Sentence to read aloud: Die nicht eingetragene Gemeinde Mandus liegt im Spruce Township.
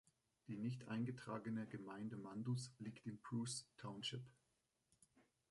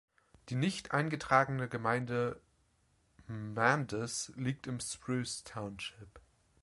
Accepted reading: second